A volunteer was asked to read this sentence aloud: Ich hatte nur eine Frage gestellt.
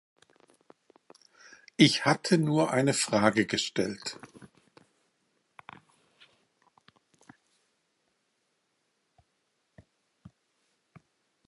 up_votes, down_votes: 1, 2